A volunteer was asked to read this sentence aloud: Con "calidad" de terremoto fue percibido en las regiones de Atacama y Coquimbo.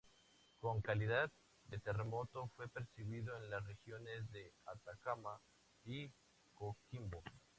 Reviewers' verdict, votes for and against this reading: accepted, 2, 0